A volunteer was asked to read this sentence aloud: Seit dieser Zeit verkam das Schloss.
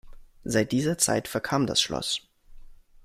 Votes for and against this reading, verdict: 2, 0, accepted